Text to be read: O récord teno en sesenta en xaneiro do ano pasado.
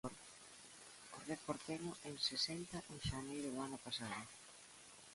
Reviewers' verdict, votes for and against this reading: rejected, 1, 2